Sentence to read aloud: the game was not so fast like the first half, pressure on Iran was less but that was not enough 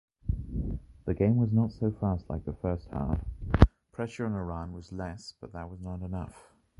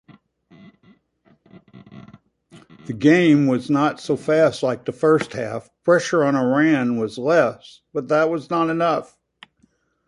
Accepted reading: second